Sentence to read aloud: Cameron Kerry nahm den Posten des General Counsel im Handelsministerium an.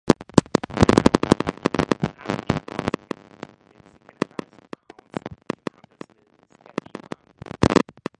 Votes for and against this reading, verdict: 0, 2, rejected